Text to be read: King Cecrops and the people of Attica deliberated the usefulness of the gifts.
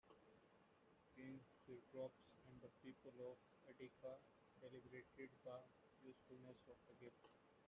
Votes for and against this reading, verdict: 1, 2, rejected